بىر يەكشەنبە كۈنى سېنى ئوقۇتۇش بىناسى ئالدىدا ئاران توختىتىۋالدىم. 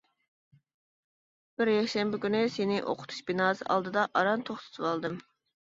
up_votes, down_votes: 2, 0